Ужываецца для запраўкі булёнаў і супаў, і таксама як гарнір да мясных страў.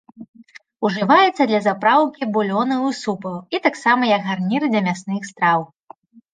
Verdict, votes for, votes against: accepted, 2, 0